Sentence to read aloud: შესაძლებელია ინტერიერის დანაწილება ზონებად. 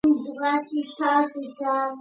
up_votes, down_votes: 0, 2